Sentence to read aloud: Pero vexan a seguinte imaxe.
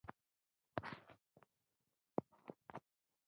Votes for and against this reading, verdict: 0, 2, rejected